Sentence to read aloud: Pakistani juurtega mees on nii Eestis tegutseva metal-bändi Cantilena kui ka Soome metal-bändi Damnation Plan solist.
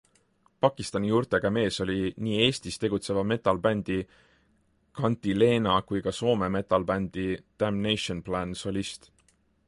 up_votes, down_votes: 1, 2